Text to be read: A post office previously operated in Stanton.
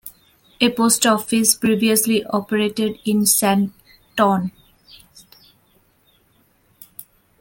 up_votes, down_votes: 0, 2